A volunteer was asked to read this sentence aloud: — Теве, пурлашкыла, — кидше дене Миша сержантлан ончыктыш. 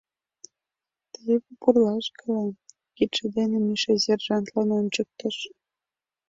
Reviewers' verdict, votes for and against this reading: accepted, 2, 0